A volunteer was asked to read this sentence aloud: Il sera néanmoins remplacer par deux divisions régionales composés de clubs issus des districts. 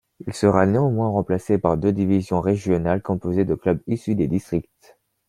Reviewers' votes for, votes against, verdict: 2, 0, accepted